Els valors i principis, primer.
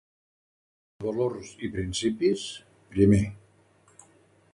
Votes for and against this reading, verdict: 1, 2, rejected